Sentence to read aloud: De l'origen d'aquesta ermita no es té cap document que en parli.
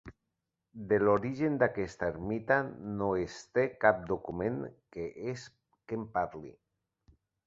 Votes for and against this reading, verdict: 1, 3, rejected